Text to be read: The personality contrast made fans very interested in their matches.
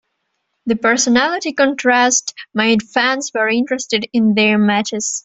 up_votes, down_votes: 2, 0